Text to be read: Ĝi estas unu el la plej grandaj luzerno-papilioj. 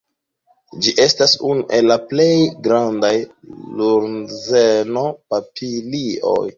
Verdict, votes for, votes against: accepted, 2, 0